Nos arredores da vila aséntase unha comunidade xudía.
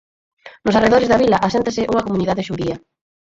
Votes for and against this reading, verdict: 2, 4, rejected